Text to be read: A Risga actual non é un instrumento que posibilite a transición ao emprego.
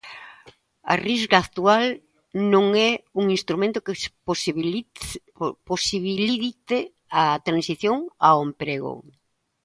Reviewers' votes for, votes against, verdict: 0, 3, rejected